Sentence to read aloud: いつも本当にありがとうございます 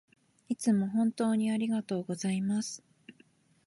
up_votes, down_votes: 2, 0